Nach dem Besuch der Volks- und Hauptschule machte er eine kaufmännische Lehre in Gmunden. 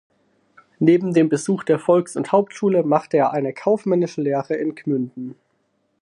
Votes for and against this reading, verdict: 0, 4, rejected